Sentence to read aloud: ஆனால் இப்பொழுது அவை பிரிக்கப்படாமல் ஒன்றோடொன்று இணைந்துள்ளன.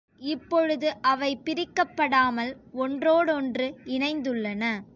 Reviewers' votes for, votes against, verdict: 2, 3, rejected